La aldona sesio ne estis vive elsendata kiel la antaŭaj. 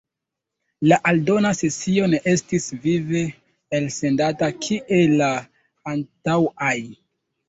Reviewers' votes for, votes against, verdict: 2, 0, accepted